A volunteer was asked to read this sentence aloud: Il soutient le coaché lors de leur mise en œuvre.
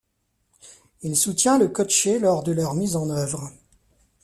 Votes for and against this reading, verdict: 2, 1, accepted